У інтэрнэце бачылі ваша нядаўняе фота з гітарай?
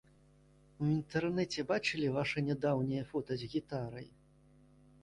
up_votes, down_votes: 2, 1